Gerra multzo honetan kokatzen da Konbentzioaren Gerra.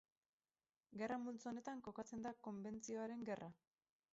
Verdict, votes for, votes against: rejected, 2, 2